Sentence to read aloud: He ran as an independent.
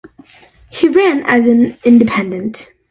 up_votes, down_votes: 2, 0